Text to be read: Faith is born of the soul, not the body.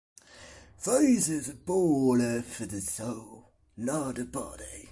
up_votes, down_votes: 2, 0